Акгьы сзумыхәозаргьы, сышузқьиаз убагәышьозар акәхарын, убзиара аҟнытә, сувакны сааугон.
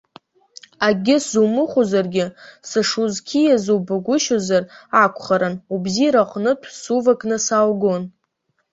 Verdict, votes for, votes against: accepted, 2, 0